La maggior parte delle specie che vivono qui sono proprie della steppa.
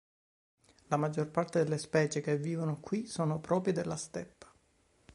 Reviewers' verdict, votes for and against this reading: accepted, 2, 0